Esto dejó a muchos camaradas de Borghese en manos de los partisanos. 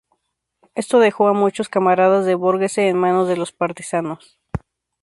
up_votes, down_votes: 2, 0